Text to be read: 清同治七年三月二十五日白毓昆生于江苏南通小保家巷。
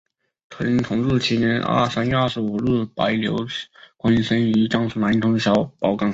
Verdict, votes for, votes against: rejected, 1, 4